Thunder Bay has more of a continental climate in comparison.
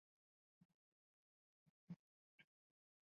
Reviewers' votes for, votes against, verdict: 0, 2, rejected